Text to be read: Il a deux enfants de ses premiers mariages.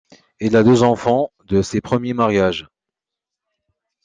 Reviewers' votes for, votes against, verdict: 2, 0, accepted